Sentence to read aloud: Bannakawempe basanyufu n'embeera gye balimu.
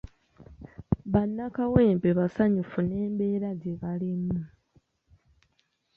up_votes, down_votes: 2, 0